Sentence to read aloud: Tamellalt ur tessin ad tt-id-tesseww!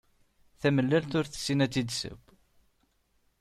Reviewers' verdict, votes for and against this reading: accepted, 2, 0